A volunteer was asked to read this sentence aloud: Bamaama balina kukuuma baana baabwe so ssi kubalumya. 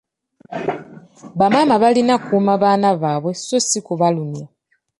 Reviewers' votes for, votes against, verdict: 2, 1, accepted